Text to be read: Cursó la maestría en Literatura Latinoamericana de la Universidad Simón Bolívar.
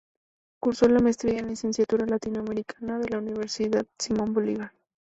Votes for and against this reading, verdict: 0, 2, rejected